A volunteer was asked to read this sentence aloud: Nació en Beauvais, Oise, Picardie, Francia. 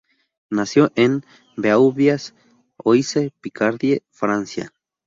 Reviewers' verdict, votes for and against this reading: rejected, 2, 2